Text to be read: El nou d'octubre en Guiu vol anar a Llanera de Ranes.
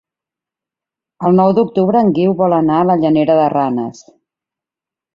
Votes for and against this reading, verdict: 3, 4, rejected